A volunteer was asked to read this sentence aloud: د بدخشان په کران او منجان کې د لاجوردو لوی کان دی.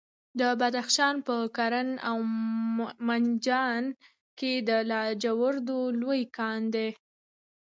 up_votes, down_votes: 2, 0